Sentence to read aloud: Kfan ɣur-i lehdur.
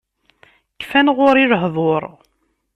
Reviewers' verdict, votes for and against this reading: accepted, 2, 0